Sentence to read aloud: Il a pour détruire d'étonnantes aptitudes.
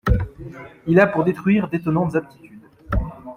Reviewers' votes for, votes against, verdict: 2, 0, accepted